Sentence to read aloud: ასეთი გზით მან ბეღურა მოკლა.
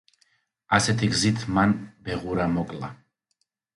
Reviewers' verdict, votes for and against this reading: accepted, 2, 0